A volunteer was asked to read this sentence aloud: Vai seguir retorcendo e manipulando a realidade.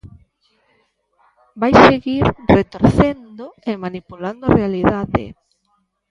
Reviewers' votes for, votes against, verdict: 0, 2, rejected